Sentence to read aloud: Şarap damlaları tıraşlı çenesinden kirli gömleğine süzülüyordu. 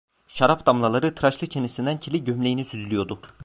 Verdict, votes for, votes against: rejected, 0, 2